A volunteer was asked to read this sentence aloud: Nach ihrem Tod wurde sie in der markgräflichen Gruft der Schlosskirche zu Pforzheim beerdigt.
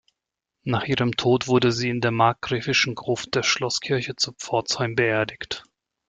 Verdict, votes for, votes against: rejected, 0, 2